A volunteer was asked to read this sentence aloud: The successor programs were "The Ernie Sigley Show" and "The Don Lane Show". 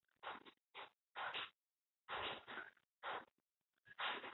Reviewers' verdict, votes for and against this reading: rejected, 0, 2